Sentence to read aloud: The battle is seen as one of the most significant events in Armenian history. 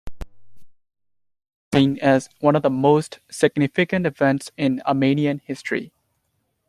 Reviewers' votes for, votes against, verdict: 0, 2, rejected